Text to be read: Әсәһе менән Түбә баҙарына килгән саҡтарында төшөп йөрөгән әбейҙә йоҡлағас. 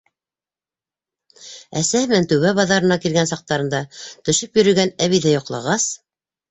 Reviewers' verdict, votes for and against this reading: rejected, 0, 2